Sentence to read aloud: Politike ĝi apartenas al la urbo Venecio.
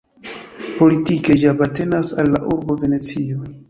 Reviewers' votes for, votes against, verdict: 2, 0, accepted